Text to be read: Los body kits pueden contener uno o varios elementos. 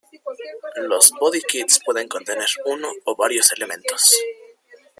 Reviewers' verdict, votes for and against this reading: rejected, 0, 2